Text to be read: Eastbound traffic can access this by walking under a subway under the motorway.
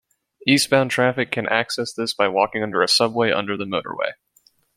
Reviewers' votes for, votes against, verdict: 2, 0, accepted